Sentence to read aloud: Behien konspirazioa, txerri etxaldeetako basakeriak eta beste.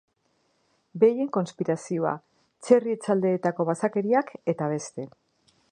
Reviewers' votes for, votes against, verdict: 3, 0, accepted